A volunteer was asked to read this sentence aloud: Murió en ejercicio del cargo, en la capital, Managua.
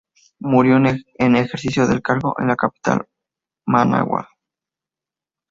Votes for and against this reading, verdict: 2, 0, accepted